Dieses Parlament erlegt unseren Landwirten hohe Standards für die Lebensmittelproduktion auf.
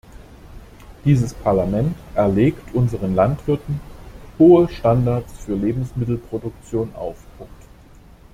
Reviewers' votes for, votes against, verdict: 0, 2, rejected